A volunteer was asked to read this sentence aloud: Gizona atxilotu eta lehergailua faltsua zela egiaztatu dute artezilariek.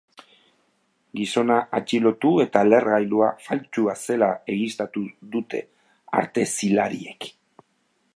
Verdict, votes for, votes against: accepted, 2, 1